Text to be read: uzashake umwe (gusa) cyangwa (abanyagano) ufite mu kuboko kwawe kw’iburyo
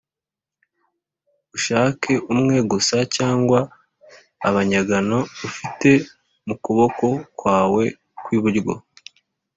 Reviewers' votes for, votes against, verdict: 2, 0, accepted